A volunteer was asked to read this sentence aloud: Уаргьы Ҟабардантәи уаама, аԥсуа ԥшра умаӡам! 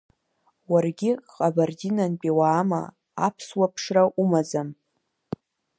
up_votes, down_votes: 0, 2